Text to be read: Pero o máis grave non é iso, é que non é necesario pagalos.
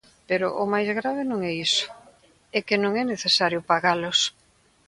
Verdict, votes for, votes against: accepted, 2, 0